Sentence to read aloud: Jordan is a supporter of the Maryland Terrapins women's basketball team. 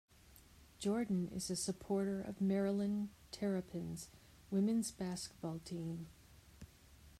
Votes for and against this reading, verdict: 0, 2, rejected